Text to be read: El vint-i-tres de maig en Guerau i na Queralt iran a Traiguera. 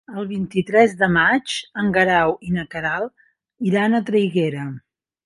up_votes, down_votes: 3, 0